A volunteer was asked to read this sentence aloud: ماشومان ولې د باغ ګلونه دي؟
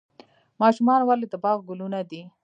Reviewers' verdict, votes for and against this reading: rejected, 0, 2